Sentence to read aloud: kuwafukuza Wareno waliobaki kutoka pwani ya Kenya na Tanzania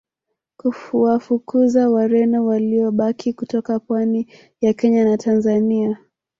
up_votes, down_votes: 0, 2